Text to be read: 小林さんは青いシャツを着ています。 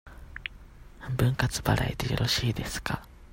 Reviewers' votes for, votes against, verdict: 0, 2, rejected